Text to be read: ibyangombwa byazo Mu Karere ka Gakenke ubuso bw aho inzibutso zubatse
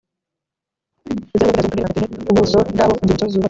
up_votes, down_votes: 1, 2